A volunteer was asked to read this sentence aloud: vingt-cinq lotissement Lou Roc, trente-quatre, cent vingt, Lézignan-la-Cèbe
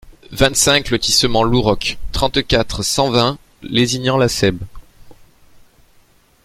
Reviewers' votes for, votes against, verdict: 2, 0, accepted